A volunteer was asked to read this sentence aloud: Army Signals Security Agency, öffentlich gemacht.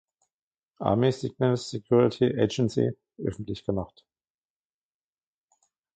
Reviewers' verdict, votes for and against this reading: rejected, 1, 2